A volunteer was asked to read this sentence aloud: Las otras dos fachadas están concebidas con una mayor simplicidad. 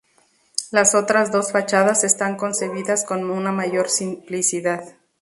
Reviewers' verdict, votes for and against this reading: rejected, 0, 2